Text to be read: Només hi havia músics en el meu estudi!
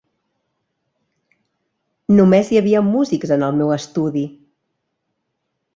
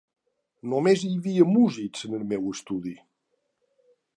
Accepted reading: first